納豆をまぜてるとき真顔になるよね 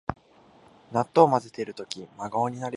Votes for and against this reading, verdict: 1, 2, rejected